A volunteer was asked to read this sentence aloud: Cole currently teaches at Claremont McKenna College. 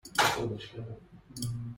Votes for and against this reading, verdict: 0, 2, rejected